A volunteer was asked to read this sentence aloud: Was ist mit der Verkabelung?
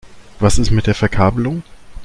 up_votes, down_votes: 2, 0